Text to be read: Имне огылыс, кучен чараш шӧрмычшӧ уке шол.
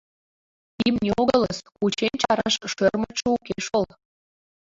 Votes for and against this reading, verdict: 0, 2, rejected